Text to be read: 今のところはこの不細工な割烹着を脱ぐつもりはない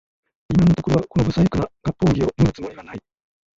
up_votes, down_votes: 0, 3